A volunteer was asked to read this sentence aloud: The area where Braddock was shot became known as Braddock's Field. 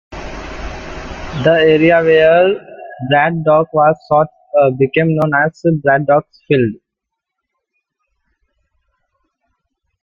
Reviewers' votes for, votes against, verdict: 0, 2, rejected